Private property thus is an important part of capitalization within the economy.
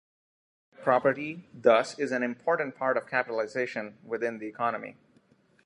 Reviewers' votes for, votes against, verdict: 1, 2, rejected